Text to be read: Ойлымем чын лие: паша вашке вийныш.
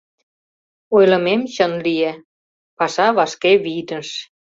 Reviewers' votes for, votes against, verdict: 2, 1, accepted